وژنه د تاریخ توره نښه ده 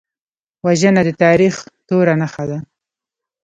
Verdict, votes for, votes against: rejected, 1, 2